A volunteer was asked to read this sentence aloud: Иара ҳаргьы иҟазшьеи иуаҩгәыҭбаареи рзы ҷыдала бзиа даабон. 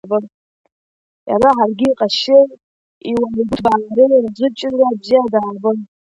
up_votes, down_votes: 0, 2